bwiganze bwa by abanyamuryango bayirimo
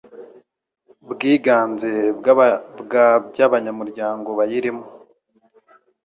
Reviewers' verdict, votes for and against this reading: rejected, 1, 2